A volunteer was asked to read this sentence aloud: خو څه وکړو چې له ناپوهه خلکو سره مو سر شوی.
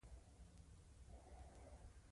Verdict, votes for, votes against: rejected, 1, 2